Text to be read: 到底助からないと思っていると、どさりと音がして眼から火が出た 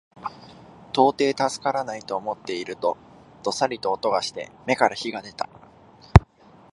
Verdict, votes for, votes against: accepted, 2, 0